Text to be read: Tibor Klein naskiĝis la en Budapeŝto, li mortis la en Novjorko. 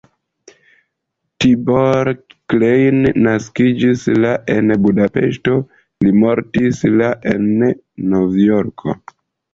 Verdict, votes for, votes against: accepted, 2, 0